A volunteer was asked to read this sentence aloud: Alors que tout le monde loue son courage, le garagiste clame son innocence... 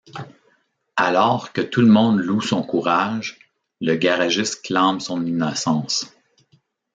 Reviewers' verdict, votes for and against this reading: accepted, 2, 0